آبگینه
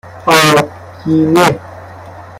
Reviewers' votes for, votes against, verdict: 1, 2, rejected